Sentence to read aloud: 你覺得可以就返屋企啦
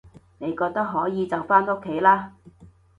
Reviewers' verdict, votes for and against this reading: accepted, 2, 0